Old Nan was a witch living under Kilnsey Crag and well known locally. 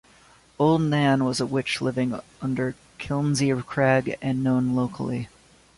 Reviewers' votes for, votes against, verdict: 1, 2, rejected